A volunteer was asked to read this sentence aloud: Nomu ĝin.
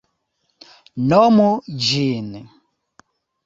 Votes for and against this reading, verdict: 2, 0, accepted